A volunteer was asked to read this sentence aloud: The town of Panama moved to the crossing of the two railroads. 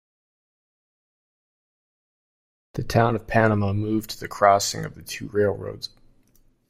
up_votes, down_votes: 2, 0